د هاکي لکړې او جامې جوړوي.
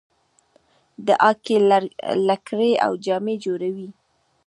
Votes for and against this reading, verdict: 3, 0, accepted